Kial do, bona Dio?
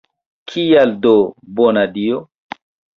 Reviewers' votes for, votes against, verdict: 2, 1, accepted